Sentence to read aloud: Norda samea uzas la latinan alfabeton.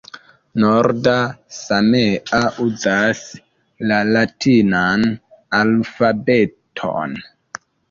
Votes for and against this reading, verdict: 2, 1, accepted